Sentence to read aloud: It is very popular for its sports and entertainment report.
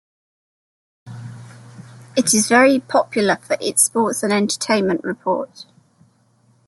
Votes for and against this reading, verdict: 2, 0, accepted